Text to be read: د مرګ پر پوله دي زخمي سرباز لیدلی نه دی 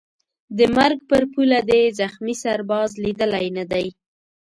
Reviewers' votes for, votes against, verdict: 2, 0, accepted